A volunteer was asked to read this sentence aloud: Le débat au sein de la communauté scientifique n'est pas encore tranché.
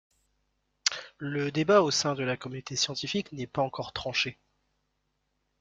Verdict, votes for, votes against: accepted, 3, 0